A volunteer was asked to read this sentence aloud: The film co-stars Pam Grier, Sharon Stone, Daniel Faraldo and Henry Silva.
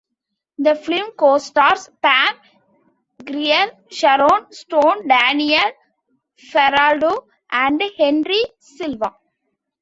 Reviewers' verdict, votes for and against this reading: accepted, 2, 1